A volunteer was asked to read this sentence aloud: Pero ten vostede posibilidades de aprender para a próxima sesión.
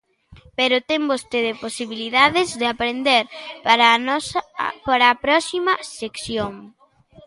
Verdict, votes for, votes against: rejected, 0, 2